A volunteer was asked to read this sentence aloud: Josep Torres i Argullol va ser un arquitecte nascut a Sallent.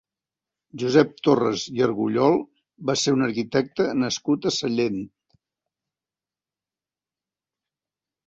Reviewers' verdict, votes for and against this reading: accepted, 3, 0